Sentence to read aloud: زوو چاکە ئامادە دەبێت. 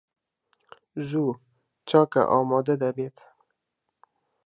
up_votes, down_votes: 0, 2